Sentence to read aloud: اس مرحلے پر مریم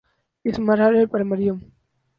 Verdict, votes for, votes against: rejected, 2, 2